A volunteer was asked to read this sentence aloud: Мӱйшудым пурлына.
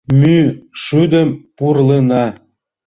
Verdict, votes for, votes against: rejected, 1, 2